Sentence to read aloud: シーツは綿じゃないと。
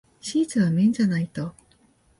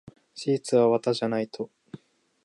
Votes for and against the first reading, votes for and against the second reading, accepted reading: 2, 0, 1, 2, first